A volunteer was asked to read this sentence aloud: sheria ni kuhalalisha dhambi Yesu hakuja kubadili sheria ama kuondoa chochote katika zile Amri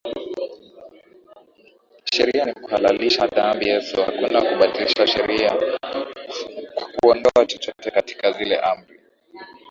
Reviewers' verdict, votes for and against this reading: accepted, 10, 4